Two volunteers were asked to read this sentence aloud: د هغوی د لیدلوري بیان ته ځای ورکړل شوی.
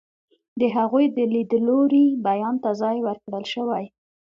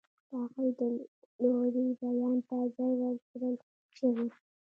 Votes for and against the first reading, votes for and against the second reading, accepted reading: 2, 0, 0, 2, first